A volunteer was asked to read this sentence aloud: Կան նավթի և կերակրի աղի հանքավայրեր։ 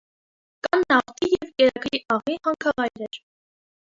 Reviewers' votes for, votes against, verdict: 0, 2, rejected